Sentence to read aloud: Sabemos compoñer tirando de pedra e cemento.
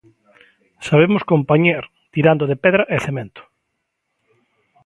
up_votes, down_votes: 0, 2